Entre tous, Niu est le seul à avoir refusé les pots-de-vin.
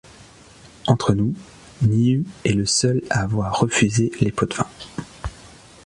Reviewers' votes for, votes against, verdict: 0, 2, rejected